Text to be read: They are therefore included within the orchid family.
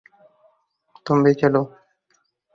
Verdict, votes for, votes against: rejected, 0, 4